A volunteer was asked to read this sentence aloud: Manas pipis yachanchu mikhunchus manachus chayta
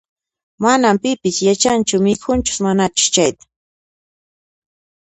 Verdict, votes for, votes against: accepted, 2, 0